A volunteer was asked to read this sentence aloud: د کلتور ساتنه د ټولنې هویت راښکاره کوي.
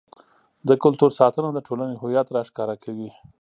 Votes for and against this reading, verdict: 2, 0, accepted